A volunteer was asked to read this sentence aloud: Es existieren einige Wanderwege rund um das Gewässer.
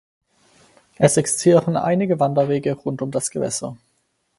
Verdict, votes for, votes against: accepted, 4, 0